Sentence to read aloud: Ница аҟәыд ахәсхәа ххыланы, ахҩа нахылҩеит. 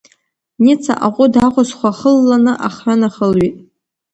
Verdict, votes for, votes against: rejected, 1, 2